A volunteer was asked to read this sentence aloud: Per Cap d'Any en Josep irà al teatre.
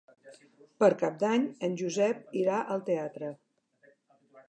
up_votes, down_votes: 4, 0